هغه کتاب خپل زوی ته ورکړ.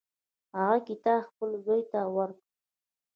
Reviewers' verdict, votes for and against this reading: rejected, 0, 2